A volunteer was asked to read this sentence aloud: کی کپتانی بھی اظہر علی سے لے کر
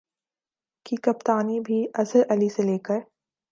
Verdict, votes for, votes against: accepted, 2, 0